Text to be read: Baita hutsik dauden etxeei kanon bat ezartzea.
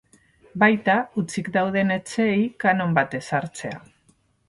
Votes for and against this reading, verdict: 0, 4, rejected